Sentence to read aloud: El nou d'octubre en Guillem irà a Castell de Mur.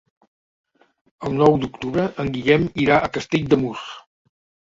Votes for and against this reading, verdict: 0, 2, rejected